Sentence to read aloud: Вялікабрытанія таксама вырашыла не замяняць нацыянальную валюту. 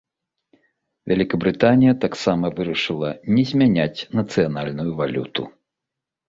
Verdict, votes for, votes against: rejected, 1, 2